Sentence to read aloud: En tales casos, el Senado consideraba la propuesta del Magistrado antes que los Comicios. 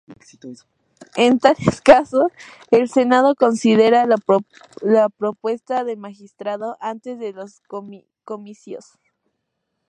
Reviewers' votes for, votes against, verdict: 0, 2, rejected